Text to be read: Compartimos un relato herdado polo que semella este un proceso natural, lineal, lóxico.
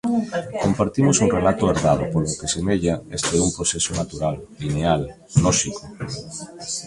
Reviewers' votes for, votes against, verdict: 2, 1, accepted